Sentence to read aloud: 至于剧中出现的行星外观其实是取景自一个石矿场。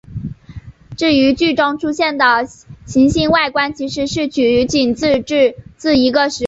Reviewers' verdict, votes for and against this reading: rejected, 1, 2